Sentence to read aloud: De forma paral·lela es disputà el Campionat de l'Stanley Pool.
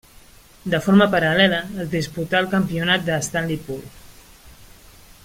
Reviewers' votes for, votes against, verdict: 1, 2, rejected